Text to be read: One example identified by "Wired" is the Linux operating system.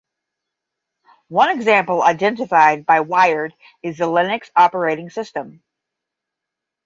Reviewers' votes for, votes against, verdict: 10, 0, accepted